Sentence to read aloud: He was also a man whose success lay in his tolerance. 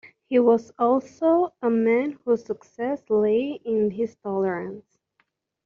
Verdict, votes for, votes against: accepted, 2, 0